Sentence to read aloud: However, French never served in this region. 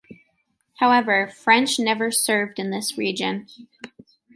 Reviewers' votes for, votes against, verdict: 2, 1, accepted